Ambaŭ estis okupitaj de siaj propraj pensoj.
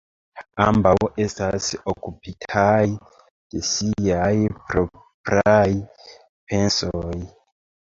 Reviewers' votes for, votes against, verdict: 0, 2, rejected